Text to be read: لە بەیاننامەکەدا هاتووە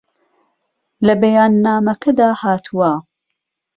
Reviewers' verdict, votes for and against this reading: accepted, 2, 0